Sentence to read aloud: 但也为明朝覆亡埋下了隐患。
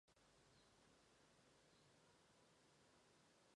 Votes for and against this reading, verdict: 2, 3, rejected